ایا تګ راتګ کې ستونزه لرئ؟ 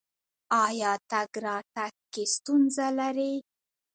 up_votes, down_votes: 2, 0